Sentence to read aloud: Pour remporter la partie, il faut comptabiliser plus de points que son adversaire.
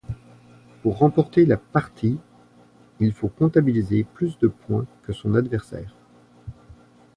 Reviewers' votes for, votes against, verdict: 2, 0, accepted